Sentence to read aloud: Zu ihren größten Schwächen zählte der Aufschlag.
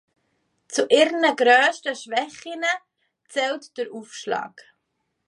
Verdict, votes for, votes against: rejected, 0, 2